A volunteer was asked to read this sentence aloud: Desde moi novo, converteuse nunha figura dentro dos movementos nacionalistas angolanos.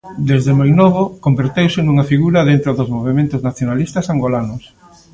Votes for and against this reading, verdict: 2, 0, accepted